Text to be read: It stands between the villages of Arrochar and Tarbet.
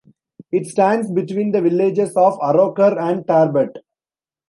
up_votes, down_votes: 2, 0